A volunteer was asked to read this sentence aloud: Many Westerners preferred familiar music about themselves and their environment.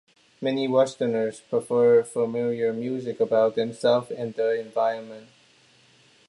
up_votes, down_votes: 2, 1